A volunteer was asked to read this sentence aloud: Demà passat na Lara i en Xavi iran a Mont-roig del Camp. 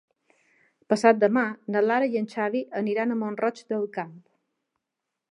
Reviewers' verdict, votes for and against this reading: rejected, 0, 3